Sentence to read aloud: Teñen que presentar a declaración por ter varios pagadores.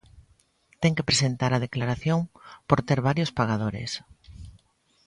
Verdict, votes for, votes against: rejected, 1, 2